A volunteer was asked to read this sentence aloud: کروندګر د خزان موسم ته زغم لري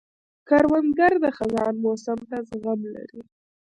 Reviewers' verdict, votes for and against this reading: rejected, 1, 2